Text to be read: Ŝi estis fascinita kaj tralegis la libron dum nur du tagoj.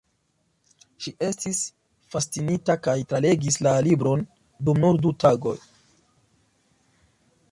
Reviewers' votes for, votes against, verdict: 2, 0, accepted